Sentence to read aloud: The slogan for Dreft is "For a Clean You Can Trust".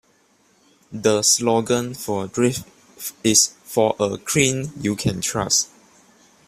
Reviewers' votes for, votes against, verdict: 2, 1, accepted